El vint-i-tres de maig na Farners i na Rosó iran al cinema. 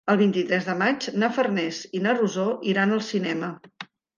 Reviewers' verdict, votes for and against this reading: accepted, 3, 0